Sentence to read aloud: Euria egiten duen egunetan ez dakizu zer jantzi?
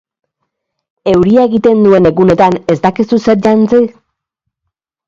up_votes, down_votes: 2, 0